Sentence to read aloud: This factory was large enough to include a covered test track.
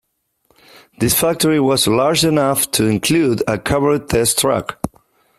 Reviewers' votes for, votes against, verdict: 2, 1, accepted